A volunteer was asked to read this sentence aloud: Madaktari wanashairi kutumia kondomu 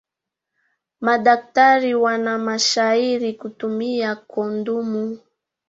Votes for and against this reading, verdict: 2, 1, accepted